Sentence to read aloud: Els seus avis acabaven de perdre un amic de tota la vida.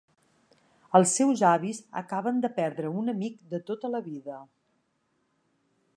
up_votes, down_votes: 0, 2